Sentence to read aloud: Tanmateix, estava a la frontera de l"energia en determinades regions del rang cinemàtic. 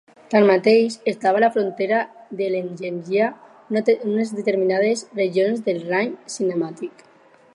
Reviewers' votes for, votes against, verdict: 0, 4, rejected